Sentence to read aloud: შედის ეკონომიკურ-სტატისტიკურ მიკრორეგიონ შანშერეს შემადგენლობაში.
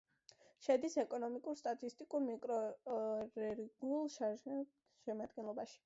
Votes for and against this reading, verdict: 1, 2, rejected